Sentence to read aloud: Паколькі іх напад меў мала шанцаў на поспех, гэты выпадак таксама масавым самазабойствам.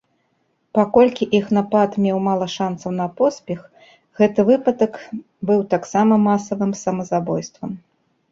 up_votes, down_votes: 0, 3